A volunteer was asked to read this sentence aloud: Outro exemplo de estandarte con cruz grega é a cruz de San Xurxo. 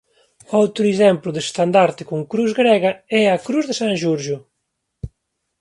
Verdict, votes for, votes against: rejected, 0, 2